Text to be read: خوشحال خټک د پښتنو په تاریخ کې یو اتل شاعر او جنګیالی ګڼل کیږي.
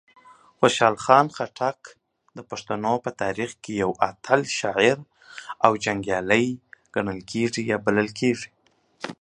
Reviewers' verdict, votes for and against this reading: rejected, 0, 2